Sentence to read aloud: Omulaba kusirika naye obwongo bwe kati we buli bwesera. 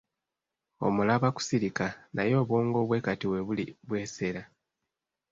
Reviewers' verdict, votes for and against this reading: accepted, 2, 0